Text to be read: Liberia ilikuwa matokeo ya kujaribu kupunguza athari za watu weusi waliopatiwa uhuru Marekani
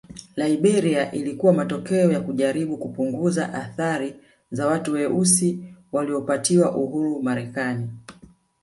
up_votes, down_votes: 2, 1